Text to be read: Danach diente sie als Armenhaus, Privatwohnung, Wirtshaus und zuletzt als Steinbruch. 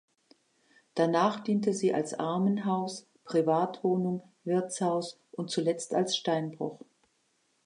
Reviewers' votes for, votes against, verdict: 2, 0, accepted